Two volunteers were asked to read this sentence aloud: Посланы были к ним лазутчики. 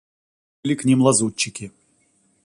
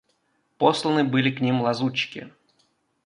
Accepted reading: second